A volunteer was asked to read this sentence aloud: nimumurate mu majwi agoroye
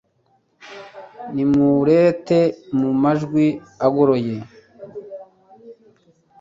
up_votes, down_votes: 1, 2